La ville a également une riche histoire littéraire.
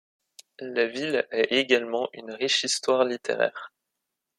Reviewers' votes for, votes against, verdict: 1, 2, rejected